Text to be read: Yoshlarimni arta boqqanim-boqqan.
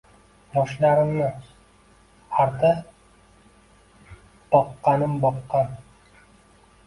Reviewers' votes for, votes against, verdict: 0, 2, rejected